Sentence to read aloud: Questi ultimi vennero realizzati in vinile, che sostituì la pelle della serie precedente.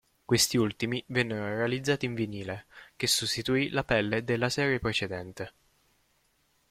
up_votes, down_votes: 2, 0